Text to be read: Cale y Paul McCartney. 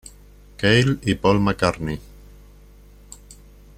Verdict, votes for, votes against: rejected, 0, 2